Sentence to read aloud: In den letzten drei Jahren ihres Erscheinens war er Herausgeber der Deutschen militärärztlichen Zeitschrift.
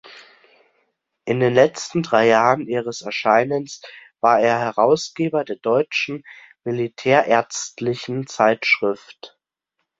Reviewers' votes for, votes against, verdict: 2, 0, accepted